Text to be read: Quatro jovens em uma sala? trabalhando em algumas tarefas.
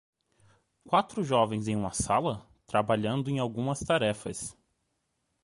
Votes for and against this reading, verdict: 2, 0, accepted